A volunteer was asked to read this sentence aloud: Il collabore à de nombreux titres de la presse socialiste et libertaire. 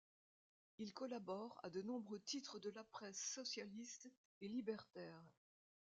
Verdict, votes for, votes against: accepted, 2, 0